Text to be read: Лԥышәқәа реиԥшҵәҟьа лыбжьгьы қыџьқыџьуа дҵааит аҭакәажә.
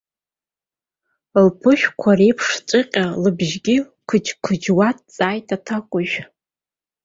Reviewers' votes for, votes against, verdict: 1, 2, rejected